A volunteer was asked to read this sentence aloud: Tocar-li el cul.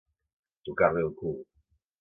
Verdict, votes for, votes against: accepted, 2, 0